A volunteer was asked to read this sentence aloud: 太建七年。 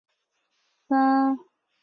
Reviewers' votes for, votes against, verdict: 1, 2, rejected